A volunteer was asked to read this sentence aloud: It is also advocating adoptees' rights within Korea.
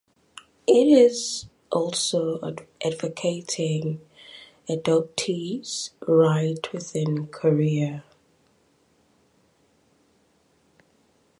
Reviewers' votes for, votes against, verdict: 1, 2, rejected